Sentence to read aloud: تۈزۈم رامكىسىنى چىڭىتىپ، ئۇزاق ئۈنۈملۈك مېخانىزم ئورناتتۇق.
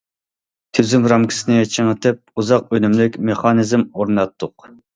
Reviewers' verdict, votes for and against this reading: accepted, 2, 0